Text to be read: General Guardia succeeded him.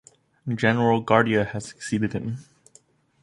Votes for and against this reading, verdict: 1, 2, rejected